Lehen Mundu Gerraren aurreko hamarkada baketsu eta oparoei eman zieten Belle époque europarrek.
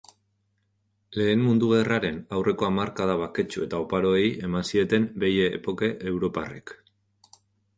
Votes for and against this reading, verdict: 2, 0, accepted